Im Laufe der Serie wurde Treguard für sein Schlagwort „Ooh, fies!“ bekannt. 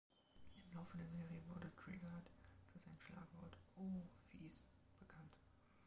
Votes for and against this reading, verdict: 0, 3, rejected